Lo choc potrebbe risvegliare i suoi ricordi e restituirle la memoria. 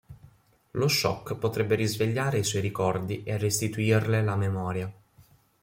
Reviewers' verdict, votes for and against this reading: accepted, 2, 0